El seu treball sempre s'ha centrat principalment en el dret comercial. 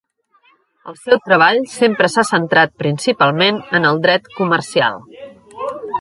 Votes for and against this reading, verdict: 1, 2, rejected